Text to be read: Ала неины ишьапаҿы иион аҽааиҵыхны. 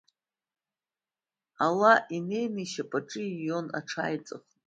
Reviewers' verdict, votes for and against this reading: rejected, 1, 2